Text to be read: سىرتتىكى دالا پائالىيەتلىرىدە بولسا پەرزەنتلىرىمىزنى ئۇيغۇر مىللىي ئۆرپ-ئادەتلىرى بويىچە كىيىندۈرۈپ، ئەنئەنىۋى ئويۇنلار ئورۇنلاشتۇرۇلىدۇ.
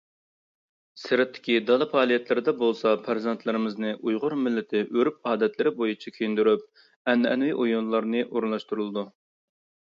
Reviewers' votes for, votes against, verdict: 0, 2, rejected